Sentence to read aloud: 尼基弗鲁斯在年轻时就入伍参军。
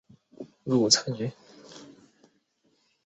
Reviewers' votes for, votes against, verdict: 0, 4, rejected